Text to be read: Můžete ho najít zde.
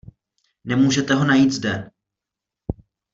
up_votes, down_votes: 0, 2